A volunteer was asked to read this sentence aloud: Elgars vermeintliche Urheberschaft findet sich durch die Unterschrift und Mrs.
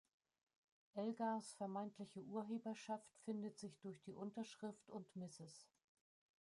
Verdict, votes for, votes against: rejected, 1, 2